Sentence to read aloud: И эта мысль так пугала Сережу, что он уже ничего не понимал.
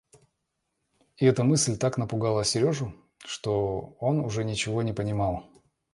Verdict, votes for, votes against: rejected, 0, 3